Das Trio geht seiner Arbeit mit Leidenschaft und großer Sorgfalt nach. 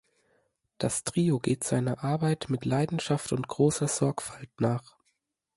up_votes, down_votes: 2, 0